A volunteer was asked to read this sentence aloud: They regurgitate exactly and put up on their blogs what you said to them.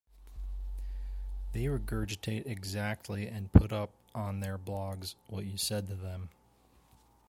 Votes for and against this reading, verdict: 2, 0, accepted